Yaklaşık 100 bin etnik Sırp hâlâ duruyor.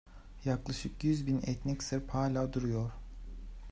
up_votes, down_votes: 0, 2